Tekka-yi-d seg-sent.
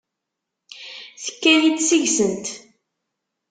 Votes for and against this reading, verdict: 2, 0, accepted